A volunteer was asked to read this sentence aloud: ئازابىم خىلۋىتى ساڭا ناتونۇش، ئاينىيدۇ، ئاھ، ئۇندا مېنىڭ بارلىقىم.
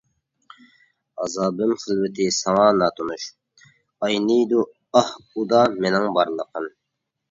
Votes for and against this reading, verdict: 0, 2, rejected